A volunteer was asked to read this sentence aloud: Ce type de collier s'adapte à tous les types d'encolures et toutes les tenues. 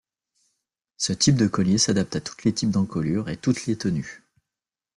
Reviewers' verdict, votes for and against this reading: rejected, 0, 2